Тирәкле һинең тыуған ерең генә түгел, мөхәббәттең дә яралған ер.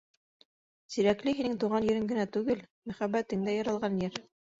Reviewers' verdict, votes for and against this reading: accepted, 2, 1